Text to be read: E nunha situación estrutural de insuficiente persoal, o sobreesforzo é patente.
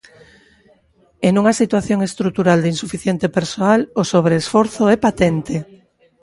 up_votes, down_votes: 2, 0